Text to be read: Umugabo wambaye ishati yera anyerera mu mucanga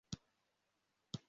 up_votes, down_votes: 0, 2